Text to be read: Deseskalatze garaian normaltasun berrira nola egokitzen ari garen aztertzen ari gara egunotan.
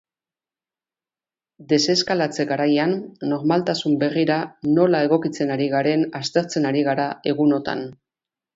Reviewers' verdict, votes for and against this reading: accepted, 2, 0